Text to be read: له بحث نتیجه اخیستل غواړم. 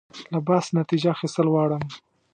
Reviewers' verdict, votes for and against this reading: accepted, 2, 0